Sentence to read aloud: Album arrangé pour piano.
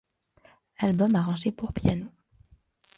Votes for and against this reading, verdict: 2, 0, accepted